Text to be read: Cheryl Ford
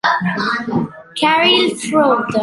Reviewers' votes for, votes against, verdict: 0, 2, rejected